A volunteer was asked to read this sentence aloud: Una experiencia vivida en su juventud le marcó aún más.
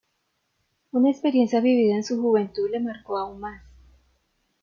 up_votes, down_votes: 2, 0